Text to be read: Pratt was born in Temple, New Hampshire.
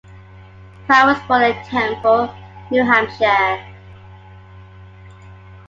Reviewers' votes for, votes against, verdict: 2, 0, accepted